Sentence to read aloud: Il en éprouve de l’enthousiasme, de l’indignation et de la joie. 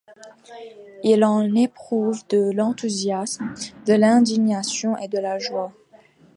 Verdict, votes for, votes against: accepted, 2, 0